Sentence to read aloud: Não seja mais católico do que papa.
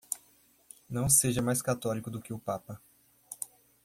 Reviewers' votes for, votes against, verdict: 2, 1, accepted